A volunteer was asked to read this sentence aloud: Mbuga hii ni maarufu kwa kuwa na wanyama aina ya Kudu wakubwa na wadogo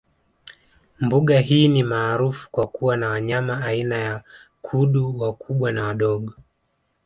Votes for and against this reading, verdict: 2, 0, accepted